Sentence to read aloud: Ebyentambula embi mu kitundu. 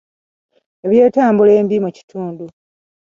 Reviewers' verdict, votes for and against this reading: accepted, 2, 1